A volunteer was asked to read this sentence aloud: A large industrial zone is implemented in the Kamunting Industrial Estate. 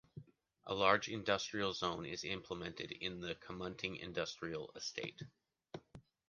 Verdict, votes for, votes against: accepted, 2, 0